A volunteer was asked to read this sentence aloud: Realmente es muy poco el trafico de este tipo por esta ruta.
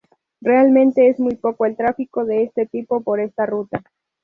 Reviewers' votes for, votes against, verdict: 4, 0, accepted